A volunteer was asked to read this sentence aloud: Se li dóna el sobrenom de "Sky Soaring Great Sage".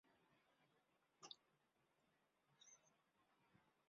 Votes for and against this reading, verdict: 0, 2, rejected